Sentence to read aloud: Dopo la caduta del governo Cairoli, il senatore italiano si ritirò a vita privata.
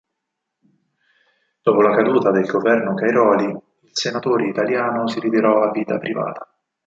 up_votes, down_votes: 2, 4